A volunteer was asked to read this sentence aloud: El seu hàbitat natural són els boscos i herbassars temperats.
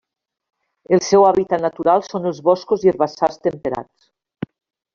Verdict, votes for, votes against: accepted, 3, 0